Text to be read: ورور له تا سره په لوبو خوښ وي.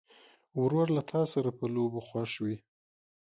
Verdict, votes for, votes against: accepted, 2, 0